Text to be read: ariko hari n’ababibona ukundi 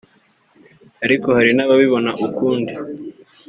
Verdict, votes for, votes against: accepted, 3, 0